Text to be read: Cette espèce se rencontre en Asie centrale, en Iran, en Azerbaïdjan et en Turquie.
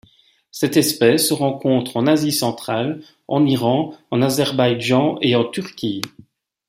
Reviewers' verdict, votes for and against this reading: accepted, 2, 0